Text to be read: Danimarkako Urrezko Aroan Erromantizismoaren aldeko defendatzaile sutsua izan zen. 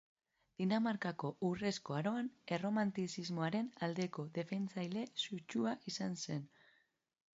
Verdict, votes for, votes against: rejected, 1, 3